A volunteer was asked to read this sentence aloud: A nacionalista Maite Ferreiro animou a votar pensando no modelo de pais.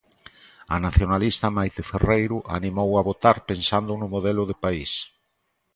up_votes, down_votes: 3, 0